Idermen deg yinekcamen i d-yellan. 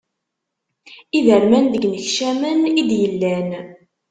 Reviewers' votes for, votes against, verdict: 1, 2, rejected